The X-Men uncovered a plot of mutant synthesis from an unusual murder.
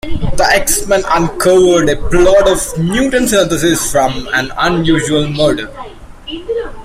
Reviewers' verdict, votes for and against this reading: accepted, 2, 0